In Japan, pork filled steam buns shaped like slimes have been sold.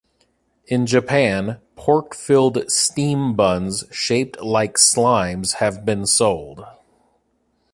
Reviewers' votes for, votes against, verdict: 2, 0, accepted